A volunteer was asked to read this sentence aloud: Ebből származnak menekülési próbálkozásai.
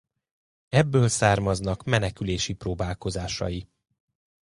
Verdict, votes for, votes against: accepted, 2, 0